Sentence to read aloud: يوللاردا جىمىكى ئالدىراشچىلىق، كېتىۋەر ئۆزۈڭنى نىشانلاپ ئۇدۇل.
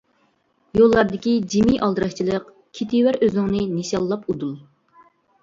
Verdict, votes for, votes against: rejected, 0, 2